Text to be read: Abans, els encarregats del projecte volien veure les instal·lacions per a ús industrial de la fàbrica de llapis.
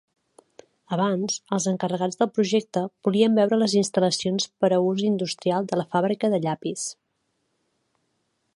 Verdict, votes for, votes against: accepted, 3, 0